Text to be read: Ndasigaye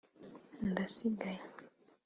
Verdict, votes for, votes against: accepted, 2, 0